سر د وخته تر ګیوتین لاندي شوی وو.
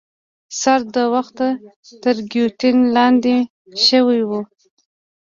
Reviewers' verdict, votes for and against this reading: accepted, 2, 1